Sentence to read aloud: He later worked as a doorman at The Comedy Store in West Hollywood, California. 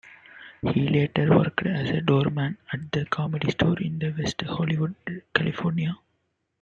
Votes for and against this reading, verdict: 1, 2, rejected